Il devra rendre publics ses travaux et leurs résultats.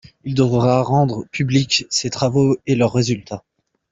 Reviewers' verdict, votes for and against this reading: accepted, 2, 1